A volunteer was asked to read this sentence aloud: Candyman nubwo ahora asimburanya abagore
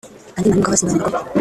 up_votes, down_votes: 0, 2